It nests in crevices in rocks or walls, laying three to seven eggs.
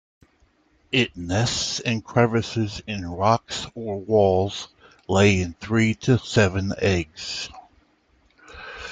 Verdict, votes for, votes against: accepted, 2, 1